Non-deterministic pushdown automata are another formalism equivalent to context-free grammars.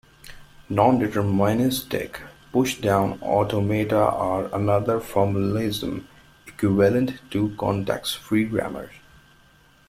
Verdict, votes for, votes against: rejected, 0, 2